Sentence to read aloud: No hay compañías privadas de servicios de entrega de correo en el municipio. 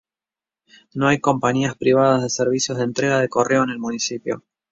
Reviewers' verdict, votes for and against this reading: accepted, 2, 0